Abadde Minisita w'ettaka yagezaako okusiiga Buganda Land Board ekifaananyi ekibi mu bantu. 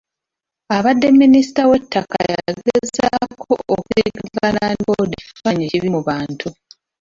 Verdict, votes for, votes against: rejected, 0, 2